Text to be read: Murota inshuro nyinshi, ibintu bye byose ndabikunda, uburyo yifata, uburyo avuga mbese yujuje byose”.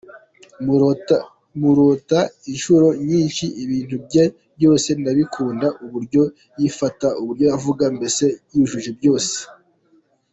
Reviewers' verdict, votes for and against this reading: accepted, 2, 1